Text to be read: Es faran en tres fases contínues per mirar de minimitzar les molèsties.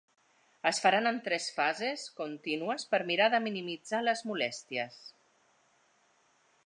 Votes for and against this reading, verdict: 2, 0, accepted